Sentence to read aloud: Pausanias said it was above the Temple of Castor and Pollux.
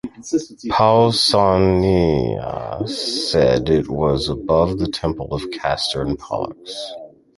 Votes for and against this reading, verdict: 1, 2, rejected